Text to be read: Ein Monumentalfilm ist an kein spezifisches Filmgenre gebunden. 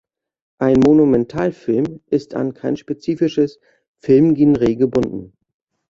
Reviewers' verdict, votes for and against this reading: rejected, 1, 2